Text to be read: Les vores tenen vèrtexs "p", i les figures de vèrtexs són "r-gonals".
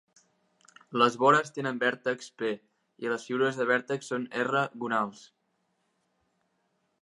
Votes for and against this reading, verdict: 2, 1, accepted